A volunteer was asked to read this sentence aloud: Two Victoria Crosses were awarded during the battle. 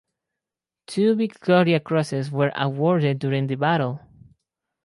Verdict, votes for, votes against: accepted, 4, 0